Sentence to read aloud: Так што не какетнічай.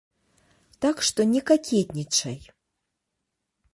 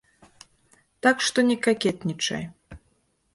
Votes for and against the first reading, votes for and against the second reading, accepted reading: 0, 2, 2, 0, second